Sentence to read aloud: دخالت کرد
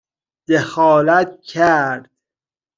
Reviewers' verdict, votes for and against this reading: accepted, 2, 0